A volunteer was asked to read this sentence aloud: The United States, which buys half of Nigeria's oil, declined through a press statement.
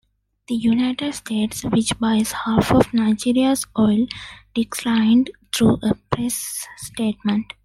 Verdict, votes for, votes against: accepted, 2, 0